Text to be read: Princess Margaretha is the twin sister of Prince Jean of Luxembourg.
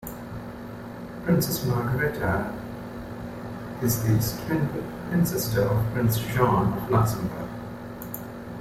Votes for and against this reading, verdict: 2, 1, accepted